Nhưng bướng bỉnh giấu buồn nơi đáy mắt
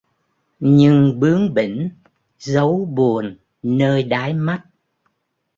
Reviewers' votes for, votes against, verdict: 2, 0, accepted